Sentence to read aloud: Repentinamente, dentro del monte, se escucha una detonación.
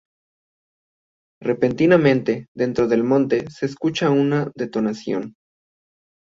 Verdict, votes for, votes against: accepted, 2, 0